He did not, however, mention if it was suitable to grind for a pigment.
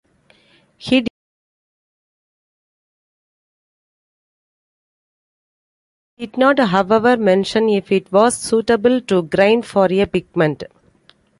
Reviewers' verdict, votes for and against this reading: rejected, 0, 2